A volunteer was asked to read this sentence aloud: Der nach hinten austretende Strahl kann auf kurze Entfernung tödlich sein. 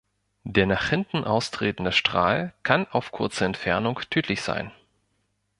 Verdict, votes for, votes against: accepted, 3, 0